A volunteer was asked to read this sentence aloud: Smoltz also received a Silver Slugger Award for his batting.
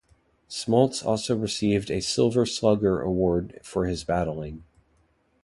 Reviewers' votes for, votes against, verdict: 0, 2, rejected